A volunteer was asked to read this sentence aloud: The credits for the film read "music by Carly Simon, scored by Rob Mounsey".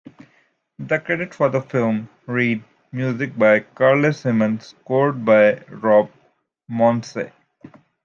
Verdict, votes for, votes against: accepted, 2, 0